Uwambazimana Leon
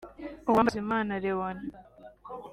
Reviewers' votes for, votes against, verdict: 2, 0, accepted